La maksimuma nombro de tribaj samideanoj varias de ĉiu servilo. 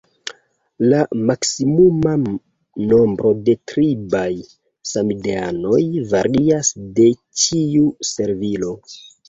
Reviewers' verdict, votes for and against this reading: accepted, 2, 1